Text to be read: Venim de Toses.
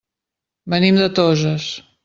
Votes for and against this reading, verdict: 3, 0, accepted